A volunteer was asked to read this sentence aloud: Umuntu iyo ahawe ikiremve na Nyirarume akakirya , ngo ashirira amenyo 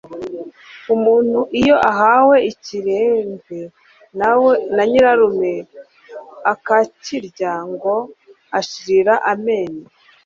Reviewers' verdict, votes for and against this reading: rejected, 1, 2